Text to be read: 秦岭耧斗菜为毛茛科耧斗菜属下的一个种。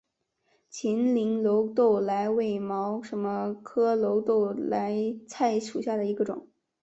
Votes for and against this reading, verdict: 2, 1, accepted